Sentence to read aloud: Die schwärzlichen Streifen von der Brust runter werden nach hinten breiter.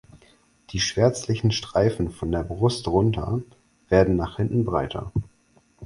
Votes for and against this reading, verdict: 4, 0, accepted